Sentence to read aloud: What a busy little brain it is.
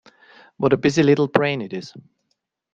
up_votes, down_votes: 2, 0